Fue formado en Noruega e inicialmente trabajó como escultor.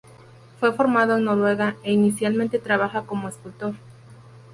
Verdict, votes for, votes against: rejected, 2, 4